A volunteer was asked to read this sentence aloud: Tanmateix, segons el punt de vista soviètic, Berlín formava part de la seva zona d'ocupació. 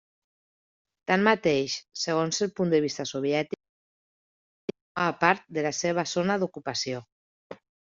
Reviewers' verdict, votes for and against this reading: rejected, 1, 2